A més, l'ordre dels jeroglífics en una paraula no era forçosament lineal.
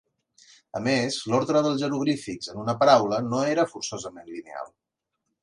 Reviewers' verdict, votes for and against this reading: accepted, 7, 0